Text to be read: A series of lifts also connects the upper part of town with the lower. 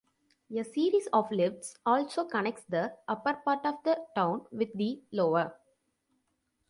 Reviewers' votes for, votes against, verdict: 0, 2, rejected